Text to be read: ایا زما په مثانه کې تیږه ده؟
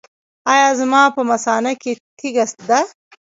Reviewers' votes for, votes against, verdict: 0, 2, rejected